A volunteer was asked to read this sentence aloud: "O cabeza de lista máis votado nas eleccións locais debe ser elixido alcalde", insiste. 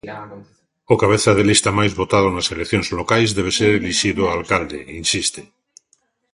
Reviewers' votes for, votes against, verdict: 2, 0, accepted